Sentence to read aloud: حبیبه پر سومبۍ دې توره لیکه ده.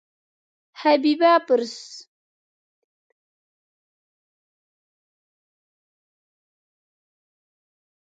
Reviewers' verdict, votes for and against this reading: rejected, 1, 2